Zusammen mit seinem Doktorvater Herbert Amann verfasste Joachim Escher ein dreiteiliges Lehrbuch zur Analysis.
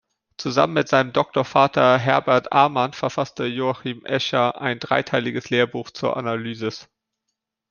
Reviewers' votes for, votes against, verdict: 2, 0, accepted